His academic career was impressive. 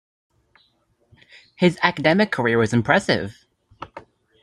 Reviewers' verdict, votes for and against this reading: accepted, 2, 0